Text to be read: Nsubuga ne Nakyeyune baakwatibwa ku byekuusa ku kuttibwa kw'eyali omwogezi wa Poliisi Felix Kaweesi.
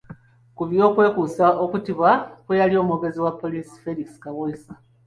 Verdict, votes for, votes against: rejected, 1, 2